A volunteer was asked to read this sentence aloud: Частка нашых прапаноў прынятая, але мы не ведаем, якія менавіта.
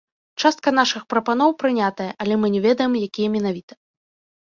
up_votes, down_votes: 2, 3